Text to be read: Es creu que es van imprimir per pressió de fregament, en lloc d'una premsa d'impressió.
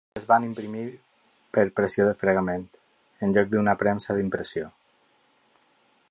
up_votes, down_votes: 0, 4